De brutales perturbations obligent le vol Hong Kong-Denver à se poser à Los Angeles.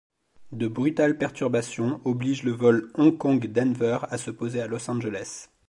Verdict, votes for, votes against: accepted, 2, 0